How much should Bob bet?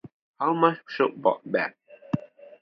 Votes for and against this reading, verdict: 2, 0, accepted